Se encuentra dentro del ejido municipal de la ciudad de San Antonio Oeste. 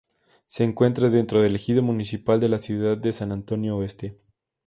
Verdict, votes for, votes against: accepted, 2, 0